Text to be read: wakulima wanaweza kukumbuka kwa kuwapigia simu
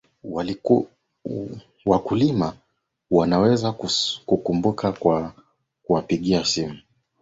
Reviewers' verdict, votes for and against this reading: rejected, 1, 2